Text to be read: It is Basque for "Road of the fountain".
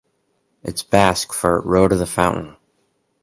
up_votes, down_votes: 4, 0